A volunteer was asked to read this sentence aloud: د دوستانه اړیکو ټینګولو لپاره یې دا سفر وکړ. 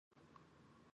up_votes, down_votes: 0, 4